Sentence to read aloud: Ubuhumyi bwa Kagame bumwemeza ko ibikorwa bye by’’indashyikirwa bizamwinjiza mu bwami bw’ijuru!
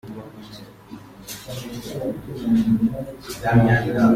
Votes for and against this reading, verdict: 0, 2, rejected